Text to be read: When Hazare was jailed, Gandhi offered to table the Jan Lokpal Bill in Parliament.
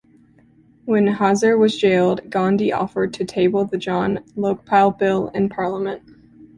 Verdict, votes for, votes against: accepted, 2, 0